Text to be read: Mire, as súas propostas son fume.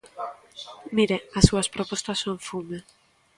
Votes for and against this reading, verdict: 2, 0, accepted